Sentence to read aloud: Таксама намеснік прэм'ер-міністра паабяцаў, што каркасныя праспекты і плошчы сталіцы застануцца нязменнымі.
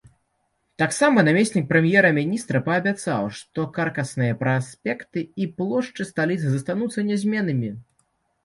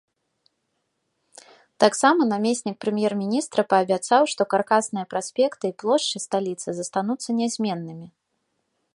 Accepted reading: second